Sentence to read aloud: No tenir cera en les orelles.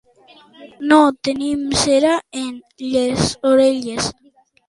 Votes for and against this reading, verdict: 0, 2, rejected